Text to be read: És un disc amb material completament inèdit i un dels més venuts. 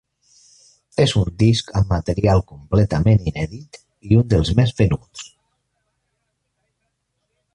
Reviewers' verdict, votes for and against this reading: accepted, 2, 0